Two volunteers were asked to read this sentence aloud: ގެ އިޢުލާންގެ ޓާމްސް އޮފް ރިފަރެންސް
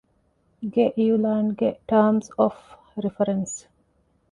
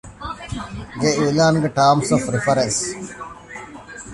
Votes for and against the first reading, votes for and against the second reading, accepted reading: 2, 0, 1, 2, first